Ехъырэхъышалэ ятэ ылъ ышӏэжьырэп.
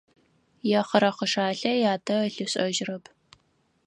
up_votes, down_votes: 2, 4